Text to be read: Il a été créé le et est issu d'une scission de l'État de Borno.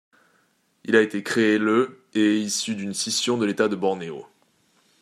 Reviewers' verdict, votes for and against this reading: rejected, 1, 2